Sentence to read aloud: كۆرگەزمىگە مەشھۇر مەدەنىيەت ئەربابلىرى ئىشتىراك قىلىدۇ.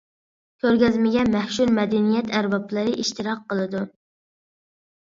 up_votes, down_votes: 0, 2